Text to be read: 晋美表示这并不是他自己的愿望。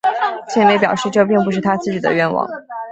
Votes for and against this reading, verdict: 6, 0, accepted